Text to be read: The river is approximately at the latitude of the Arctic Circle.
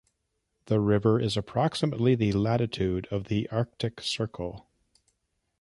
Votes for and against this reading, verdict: 0, 2, rejected